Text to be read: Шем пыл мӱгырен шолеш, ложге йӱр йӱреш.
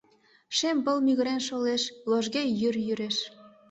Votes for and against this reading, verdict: 2, 0, accepted